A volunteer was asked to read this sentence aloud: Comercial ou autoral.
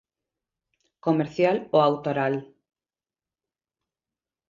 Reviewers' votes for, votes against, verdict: 2, 0, accepted